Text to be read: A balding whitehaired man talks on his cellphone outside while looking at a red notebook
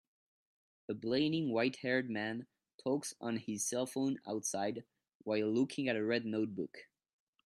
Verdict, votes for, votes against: rejected, 0, 2